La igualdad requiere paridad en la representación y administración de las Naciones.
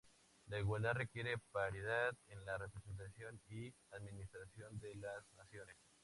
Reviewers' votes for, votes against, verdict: 2, 0, accepted